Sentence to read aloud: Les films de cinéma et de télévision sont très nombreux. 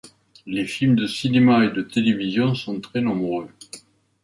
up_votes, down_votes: 2, 0